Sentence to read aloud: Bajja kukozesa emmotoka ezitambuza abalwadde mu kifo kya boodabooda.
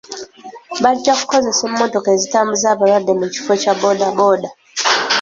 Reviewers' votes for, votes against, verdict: 2, 1, accepted